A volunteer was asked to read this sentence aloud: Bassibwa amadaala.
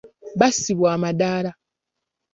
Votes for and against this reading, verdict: 2, 0, accepted